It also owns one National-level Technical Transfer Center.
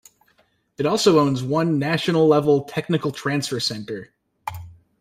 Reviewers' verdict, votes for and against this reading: accepted, 2, 0